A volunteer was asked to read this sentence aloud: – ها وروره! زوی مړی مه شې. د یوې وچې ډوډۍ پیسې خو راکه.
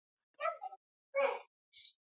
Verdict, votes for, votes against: rejected, 1, 2